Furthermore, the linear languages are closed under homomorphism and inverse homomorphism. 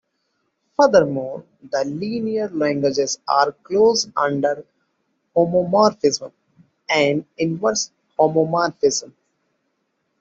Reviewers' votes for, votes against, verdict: 2, 0, accepted